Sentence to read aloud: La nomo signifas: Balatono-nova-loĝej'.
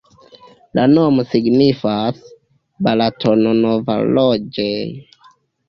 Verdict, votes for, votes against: accepted, 2, 1